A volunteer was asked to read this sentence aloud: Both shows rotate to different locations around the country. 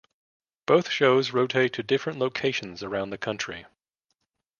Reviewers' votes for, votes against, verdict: 2, 0, accepted